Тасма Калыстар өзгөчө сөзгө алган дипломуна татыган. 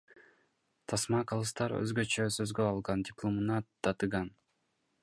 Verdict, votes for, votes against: accepted, 2, 1